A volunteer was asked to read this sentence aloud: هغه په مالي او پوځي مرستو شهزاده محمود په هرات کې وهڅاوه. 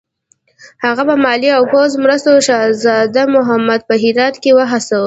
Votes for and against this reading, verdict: 0, 2, rejected